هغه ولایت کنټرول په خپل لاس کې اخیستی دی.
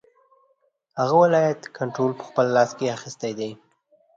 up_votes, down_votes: 2, 0